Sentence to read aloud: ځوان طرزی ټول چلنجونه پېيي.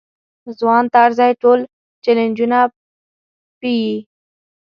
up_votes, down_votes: 0, 2